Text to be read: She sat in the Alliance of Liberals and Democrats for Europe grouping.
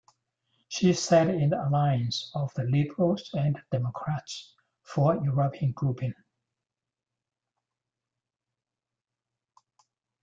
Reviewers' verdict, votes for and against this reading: rejected, 1, 3